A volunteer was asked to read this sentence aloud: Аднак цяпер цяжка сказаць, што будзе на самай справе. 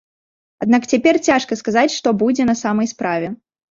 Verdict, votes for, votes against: accepted, 2, 0